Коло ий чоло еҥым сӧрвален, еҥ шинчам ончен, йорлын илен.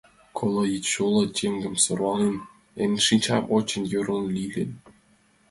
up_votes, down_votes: 1, 2